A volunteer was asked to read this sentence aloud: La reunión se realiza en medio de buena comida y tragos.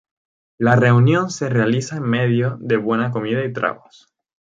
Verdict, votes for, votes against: rejected, 0, 2